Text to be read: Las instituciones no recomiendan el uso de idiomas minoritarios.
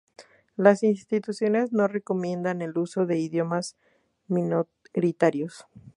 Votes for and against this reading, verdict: 0, 2, rejected